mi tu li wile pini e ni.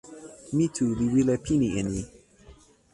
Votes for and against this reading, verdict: 1, 2, rejected